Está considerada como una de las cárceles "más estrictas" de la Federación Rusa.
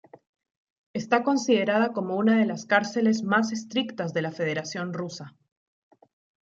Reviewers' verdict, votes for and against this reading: accepted, 2, 0